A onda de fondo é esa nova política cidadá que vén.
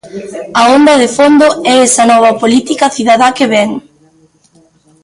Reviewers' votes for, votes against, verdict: 2, 1, accepted